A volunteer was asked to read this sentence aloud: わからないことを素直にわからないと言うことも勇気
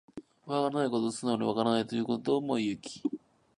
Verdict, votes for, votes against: rejected, 1, 2